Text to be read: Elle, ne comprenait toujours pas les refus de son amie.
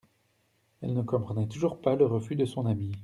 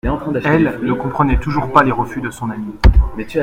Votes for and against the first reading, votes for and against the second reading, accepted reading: 0, 2, 2, 0, second